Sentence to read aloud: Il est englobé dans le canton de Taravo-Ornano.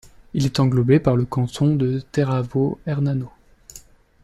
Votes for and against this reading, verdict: 0, 2, rejected